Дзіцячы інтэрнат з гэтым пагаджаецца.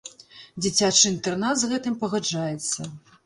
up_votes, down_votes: 3, 0